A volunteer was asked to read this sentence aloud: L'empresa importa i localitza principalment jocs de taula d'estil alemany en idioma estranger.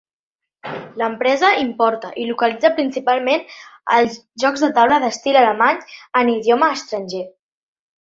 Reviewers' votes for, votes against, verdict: 0, 3, rejected